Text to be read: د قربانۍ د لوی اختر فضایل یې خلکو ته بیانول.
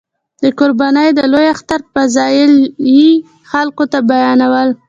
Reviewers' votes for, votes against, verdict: 2, 0, accepted